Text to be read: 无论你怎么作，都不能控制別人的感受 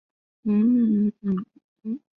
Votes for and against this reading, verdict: 0, 2, rejected